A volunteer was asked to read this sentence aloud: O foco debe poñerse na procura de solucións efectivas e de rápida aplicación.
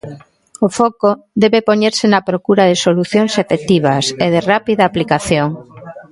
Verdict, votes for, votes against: rejected, 1, 2